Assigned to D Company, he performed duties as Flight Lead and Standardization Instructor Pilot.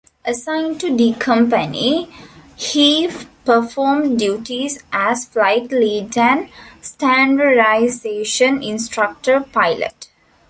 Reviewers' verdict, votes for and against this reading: accepted, 2, 1